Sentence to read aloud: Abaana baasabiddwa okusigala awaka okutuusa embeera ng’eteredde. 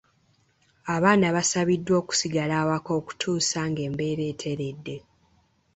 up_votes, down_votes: 1, 2